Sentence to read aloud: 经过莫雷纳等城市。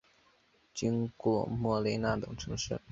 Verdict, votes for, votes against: rejected, 0, 2